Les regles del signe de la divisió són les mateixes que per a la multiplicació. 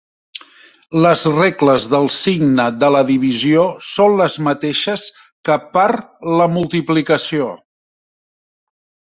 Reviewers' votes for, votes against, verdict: 0, 2, rejected